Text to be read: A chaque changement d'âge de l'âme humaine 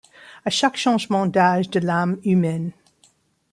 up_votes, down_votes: 2, 0